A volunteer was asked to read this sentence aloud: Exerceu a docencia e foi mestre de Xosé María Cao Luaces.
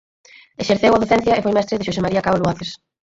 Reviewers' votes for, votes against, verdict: 0, 4, rejected